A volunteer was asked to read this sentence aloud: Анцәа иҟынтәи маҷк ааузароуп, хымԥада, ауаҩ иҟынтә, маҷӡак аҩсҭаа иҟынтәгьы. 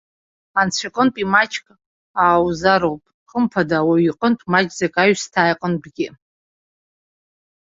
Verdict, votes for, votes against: accepted, 2, 0